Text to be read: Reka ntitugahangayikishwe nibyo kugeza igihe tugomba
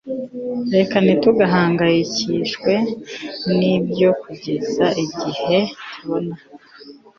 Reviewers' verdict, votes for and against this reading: accepted, 3, 2